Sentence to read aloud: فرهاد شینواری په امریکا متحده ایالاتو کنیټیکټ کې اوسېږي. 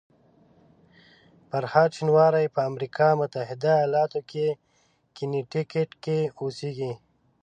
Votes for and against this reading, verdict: 1, 2, rejected